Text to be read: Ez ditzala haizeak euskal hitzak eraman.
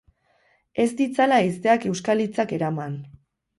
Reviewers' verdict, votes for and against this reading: accepted, 6, 0